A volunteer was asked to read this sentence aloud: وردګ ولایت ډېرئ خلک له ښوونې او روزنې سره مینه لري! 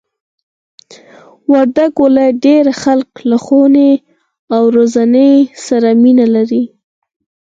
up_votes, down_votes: 2, 4